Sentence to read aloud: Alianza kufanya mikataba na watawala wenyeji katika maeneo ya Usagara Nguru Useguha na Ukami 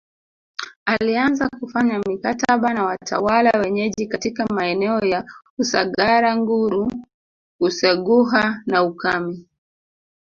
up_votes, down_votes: 0, 2